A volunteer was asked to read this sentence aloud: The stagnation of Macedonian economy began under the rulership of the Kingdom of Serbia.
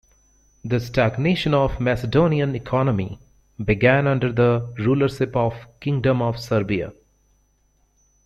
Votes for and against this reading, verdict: 1, 2, rejected